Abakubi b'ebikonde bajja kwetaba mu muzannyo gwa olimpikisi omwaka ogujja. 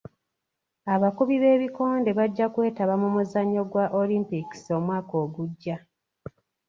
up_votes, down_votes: 2, 0